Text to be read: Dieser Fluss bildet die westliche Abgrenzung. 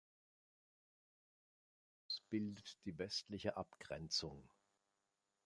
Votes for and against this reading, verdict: 0, 2, rejected